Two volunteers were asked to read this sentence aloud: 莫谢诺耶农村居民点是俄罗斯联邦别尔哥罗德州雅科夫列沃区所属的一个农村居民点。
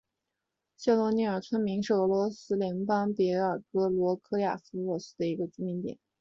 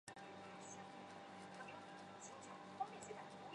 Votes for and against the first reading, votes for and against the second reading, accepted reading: 2, 0, 0, 2, first